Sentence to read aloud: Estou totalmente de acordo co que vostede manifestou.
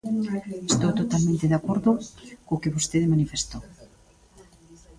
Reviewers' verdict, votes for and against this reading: rejected, 0, 2